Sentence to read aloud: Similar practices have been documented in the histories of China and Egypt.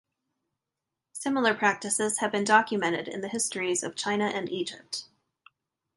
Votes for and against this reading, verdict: 2, 0, accepted